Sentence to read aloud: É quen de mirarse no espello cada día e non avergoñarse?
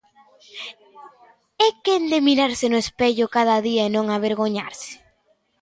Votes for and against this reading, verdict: 2, 1, accepted